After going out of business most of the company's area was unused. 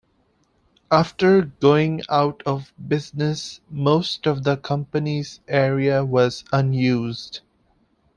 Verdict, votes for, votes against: accepted, 2, 0